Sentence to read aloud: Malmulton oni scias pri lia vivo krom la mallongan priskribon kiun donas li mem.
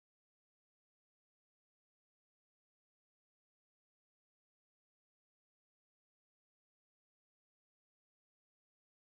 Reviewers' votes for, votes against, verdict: 0, 2, rejected